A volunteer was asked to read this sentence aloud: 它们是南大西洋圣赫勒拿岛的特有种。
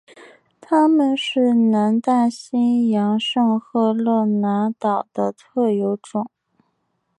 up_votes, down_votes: 2, 0